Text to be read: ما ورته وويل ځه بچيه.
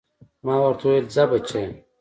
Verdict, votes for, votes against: accepted, 2, 0